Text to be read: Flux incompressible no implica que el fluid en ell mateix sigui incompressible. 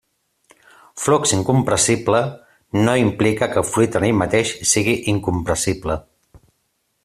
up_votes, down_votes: 3, 0